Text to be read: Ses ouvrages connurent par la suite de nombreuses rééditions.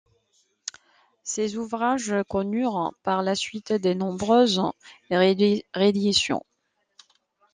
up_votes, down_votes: 1, 2